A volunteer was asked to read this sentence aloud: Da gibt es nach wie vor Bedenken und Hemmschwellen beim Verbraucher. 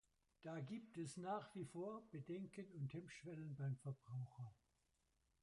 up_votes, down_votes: 0, 2